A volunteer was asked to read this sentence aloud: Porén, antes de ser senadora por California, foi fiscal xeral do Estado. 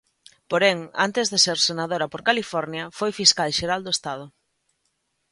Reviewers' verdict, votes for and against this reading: accepted, 2, 0